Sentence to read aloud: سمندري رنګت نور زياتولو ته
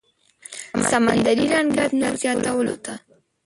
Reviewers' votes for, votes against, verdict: 0, 2, rejected